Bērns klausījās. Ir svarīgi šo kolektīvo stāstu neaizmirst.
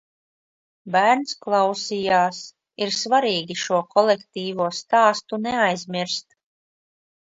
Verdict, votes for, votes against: accepted, 2, 0